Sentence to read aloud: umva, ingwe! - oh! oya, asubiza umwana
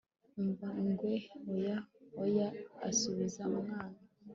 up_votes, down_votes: 2, 0